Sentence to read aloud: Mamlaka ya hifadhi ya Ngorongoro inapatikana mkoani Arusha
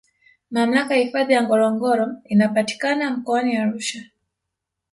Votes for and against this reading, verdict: 0, 2, rejected